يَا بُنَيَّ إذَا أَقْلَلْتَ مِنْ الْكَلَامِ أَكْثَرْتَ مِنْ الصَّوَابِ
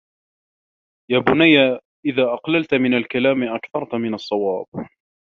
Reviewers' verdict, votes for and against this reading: accepted, 2, 0